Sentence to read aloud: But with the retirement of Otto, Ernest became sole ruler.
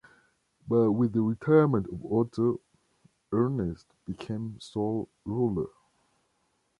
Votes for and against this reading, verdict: 2, 0, accepted